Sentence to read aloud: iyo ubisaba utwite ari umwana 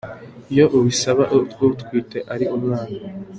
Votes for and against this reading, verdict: 2, 3, rejected